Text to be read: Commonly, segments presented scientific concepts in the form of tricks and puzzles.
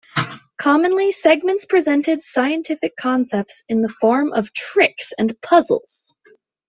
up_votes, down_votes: 2, 0